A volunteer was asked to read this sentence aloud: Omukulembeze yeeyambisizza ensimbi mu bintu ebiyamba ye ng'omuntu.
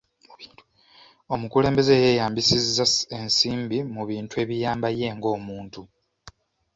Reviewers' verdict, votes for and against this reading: rejected, 1, 3